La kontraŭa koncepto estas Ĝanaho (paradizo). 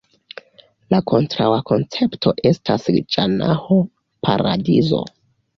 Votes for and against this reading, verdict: 0, 2, rejected